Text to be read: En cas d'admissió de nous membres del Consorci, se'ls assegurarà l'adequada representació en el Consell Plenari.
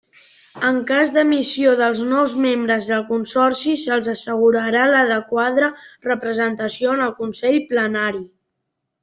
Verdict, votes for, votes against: rejected, 0, 2